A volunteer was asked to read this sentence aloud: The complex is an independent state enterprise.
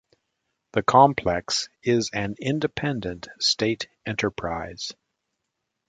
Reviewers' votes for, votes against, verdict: 2, 0, accepted